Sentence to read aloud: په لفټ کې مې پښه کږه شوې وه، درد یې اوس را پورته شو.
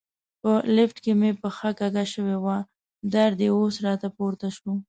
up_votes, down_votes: 1, 2